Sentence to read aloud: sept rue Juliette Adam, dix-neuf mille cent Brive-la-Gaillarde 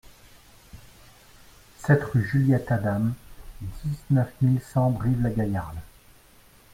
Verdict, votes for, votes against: rejected, 1, 2